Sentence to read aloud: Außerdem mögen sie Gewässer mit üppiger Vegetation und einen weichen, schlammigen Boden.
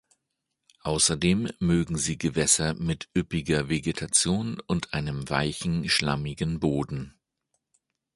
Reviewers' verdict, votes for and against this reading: accepted, 2, 0